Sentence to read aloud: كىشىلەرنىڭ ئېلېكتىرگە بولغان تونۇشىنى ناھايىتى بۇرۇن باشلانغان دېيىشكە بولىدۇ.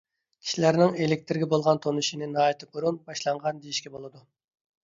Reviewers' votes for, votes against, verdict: 2, 0, accepted